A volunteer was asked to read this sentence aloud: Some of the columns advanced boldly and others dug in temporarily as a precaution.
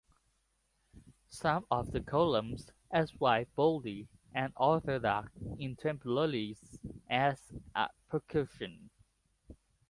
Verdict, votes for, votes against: rejected, 2, 3